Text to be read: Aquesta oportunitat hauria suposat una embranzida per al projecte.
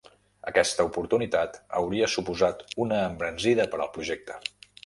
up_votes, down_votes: 3, 0